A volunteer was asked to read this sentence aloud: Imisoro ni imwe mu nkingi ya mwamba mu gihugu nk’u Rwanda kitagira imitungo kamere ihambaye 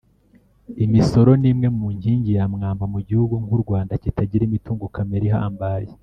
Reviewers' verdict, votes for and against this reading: rejected, 1, 2